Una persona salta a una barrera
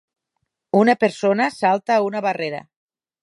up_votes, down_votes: 6, 0